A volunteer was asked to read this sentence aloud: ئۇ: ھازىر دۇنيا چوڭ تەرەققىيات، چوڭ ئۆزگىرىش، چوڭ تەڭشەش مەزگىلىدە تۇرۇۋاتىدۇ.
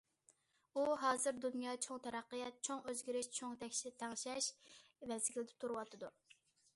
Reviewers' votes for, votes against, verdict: 0, 2, rejected